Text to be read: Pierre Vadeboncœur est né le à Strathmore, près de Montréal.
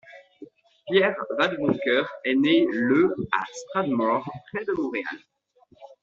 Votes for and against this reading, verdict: 2, 0, accepted